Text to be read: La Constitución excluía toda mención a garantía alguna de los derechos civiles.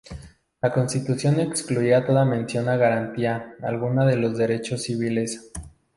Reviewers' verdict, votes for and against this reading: rejected, 0, 2